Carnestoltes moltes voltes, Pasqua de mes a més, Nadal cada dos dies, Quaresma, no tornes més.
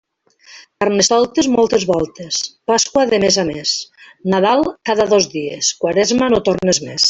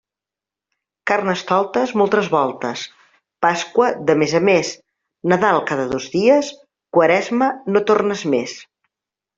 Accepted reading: first